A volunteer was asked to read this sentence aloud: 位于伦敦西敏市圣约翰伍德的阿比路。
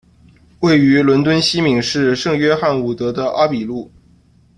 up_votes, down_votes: 2, 0